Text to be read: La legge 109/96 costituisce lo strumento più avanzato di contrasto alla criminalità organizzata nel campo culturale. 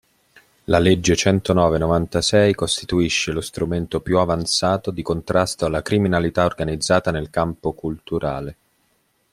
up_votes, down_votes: 0, 2